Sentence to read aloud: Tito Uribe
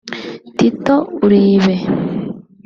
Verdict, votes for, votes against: accepted, 2, 0